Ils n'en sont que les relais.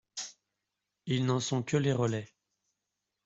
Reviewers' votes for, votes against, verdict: 2, 0, accepted